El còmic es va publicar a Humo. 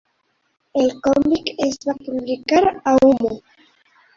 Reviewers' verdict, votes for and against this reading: rejected, 0, 3